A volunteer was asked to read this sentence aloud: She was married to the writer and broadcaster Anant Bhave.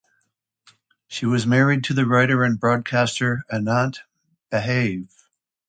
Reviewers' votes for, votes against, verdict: 2, 0, accepted